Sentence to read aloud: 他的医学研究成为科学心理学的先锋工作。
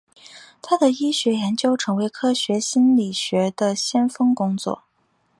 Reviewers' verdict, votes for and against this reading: accepted, 4, 0